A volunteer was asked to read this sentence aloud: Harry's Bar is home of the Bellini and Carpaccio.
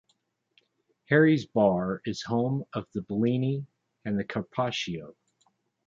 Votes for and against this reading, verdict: 2, 0, accepted